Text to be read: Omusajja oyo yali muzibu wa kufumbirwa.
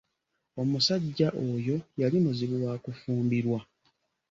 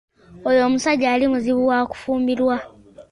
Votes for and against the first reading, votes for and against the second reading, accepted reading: 2, 0, 1, 2, first